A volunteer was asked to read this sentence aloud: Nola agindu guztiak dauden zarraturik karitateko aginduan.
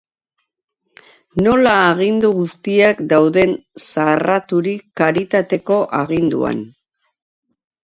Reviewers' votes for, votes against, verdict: 0, 2, rejected